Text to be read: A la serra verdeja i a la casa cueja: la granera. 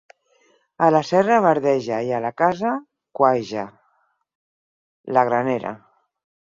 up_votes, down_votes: 4, 0